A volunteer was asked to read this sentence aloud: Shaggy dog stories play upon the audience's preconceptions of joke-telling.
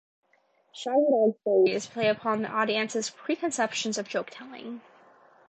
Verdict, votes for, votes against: rejected, 0, 2